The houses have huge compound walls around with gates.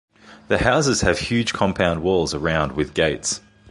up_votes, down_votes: 2, 0